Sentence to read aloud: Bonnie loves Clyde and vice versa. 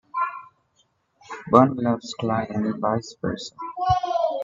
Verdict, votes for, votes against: rejected, 0, 2